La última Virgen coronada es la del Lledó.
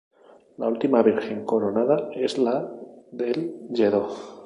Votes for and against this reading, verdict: 2, 2, rejected